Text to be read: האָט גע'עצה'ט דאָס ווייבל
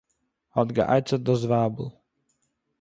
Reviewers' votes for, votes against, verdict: 2, 0, accepted